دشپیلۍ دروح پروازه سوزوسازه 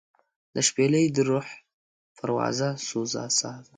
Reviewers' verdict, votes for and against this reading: rejected, 0, 2